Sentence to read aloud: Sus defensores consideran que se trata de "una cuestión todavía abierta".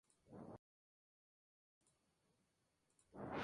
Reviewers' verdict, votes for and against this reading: rejected, 0, 4